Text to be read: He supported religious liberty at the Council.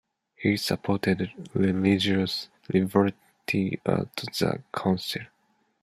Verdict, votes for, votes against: rejected, 0, 2